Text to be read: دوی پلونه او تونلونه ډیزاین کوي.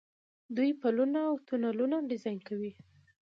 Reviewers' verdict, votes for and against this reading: rejected, 1, 2